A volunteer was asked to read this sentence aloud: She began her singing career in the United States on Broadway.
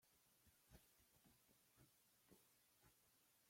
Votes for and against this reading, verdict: 0, 2, rejected